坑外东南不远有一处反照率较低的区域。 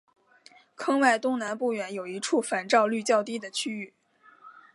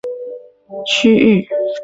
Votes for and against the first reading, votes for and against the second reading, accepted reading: 2, 0, 0, 2, first